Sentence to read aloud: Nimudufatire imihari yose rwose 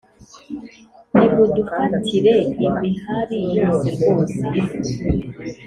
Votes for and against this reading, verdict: 3, 1, accepted